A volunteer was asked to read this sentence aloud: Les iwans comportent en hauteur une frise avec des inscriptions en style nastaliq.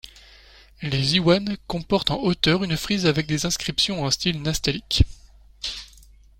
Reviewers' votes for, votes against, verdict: 2, 0, accepted